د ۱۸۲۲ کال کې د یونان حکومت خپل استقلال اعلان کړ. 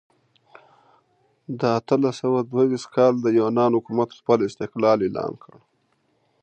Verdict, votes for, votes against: rejected, 0, 2